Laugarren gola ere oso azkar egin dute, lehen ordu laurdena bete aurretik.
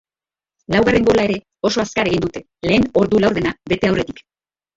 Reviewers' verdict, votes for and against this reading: rejected, 0, 2